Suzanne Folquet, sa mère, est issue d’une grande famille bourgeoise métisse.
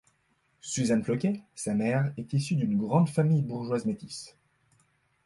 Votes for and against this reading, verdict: 1, 2, rejected